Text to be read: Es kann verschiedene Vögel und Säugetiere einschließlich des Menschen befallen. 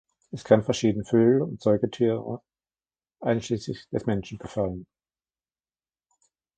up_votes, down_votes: 1, 2